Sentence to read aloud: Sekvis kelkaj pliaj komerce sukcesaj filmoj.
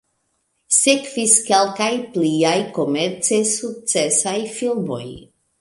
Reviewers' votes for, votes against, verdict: 1, 2, rejected